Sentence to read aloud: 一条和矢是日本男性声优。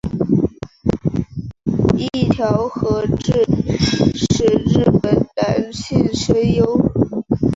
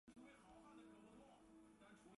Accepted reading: first